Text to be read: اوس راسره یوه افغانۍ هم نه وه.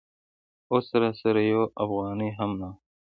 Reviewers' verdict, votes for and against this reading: accepted, 4, 1